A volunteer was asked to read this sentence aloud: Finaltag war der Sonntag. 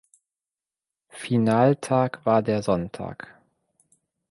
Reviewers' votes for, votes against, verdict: 2, 0, accepted